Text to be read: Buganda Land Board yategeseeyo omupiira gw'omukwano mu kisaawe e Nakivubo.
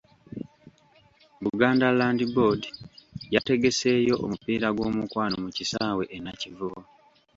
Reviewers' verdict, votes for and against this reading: accepted, 2, 1